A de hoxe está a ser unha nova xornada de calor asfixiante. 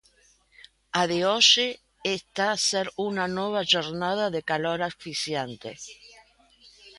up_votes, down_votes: 0, 2